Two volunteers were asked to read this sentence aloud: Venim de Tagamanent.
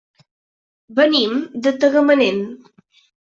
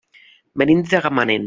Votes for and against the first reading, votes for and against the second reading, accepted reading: 3, 0, 1, 2, first